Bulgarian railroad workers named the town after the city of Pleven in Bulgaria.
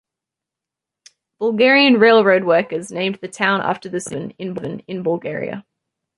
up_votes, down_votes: 0, 2